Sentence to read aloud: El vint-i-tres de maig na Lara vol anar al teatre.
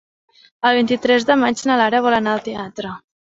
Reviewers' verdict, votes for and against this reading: accepted, 5, 1